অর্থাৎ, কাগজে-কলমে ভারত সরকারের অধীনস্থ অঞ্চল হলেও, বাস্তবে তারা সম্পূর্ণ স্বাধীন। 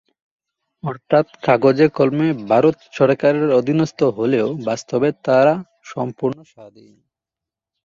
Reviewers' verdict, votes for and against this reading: rejected, 0, 2